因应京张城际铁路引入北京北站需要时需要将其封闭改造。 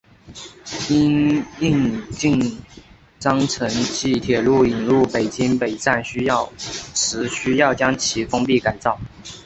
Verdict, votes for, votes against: accepted, 3, 2